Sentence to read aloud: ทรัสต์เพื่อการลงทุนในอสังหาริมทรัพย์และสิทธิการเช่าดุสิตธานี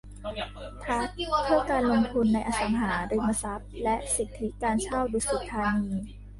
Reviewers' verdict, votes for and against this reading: rejected, 0, 2